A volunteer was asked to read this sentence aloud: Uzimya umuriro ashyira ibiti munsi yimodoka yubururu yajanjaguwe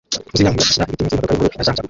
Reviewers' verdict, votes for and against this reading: rejected, 0, 2